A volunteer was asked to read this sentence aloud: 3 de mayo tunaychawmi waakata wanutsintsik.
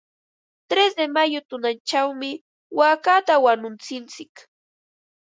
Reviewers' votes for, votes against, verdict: 0, 2, rejected